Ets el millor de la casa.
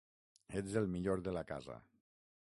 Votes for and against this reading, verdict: 6, 0, accepted